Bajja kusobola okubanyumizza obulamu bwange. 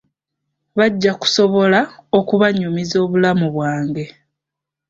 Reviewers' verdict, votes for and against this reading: accepted, 2, 0